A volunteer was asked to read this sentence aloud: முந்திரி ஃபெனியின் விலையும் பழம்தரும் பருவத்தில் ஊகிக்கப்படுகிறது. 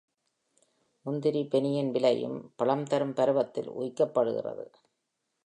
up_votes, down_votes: 2, 0